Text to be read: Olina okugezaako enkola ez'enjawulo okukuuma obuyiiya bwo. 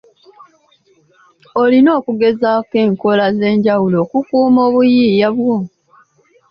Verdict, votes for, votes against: accepted, 2, 1